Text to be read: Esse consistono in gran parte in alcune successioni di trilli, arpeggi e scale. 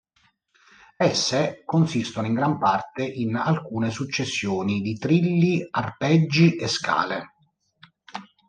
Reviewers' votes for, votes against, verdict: 2, 0, accepted